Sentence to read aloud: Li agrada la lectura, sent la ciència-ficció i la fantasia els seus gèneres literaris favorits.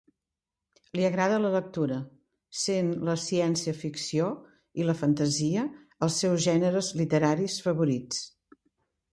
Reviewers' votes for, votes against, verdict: 2, 0, accepted